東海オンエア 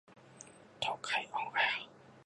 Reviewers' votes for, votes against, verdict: 2, 0, accepted